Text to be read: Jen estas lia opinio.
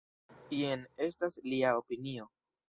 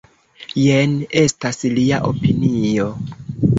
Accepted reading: second